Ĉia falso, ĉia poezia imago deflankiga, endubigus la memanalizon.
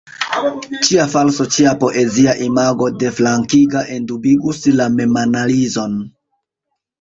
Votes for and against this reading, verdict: 0, 2, rejected